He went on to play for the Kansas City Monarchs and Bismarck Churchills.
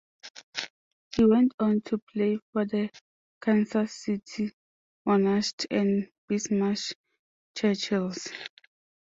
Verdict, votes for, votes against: rejected, 0, 2